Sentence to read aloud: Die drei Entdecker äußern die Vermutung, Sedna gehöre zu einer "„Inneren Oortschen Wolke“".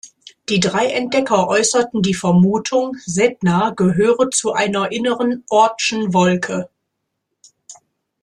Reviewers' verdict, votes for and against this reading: rejected, 2, 3